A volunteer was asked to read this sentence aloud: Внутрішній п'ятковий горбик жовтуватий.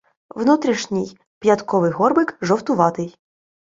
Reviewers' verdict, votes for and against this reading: accepted, 2, 0